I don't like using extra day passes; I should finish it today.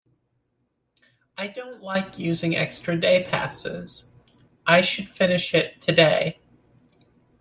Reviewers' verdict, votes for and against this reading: accepted, 2, 0